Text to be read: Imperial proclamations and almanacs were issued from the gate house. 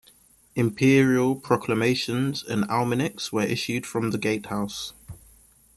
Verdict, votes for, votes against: rejected, 1, 2